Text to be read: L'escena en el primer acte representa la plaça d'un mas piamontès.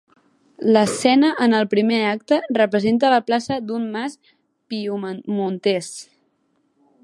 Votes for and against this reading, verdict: 1, 2, rejected